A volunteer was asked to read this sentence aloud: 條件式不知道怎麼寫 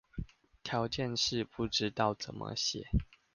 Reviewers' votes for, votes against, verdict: 2, 0, accepted